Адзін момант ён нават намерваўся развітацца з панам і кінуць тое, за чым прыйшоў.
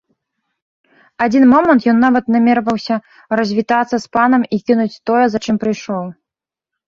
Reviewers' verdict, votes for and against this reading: accepted, 2, 0